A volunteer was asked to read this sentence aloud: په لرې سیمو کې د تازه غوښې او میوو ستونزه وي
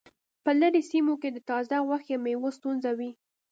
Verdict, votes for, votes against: accepted, 2, 0